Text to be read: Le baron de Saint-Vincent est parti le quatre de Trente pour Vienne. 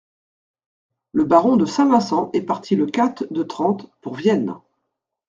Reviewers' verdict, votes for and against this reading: rejected, 0, 2